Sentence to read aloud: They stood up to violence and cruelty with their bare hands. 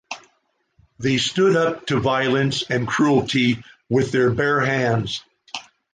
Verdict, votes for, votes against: accepted, 2, 0